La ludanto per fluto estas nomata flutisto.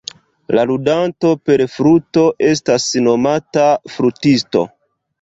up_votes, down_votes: 0, 2